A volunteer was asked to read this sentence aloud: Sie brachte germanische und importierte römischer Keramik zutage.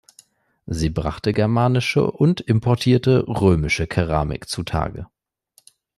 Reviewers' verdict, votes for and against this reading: accepted, 2, 0